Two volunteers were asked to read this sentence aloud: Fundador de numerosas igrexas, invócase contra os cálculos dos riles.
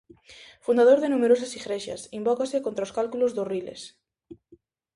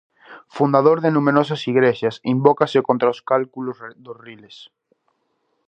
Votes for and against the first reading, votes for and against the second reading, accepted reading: 2, 0, 0, 2, first